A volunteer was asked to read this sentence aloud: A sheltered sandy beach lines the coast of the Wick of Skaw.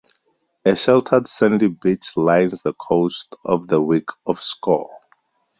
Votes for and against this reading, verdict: 0, 2, rejected